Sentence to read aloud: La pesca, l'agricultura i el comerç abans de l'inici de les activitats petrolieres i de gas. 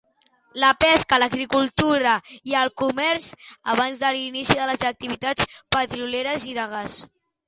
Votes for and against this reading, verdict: 2, 0, accepted